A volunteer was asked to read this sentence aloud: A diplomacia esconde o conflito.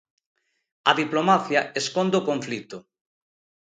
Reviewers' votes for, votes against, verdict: 2, 0, accepted